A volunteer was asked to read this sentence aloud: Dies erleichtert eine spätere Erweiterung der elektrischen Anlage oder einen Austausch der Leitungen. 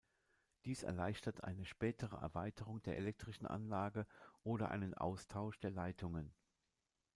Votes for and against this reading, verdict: 0, 2, rejected